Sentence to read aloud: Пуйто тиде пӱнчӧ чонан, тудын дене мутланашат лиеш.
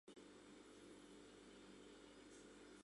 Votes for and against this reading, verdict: 0, 2, rejected